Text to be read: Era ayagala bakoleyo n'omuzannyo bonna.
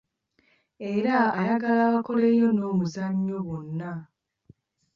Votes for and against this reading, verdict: 2, 1, accepted